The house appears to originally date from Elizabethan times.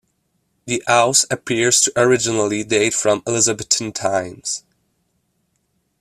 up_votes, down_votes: 2, 1